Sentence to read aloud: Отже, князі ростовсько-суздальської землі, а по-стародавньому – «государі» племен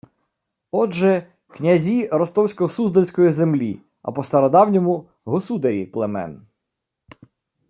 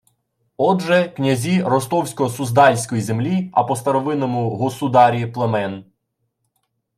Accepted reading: first